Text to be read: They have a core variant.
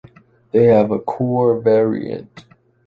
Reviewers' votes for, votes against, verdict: 2, 0, accepted